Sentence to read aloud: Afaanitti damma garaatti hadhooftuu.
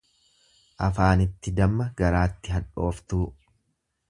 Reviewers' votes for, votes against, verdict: 3, 0, accepted